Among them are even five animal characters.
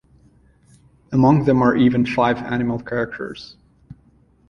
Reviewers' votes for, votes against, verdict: 2, 0, accepted